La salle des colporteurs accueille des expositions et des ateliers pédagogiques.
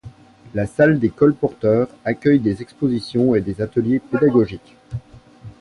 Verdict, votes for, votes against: accepted, 2, 0